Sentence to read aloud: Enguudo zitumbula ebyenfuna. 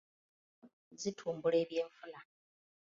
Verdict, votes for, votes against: rejected, 0, 2